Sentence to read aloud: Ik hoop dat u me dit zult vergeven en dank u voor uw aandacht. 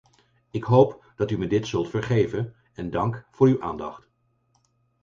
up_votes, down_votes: 2, 4